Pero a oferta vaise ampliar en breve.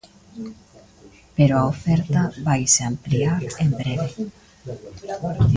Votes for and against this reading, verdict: 1, 2, rejected